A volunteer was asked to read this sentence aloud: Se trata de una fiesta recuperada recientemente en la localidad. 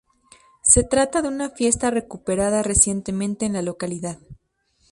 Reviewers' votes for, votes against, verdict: 2, 0, accepted